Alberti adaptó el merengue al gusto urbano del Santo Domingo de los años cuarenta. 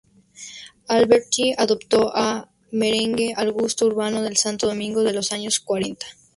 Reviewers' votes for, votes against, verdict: 0, 2, rejected